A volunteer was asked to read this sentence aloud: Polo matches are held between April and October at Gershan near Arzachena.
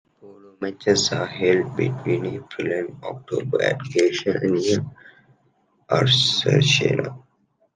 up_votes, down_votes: 0, 2